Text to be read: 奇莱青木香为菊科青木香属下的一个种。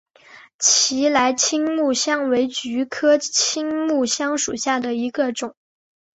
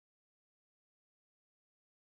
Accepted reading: first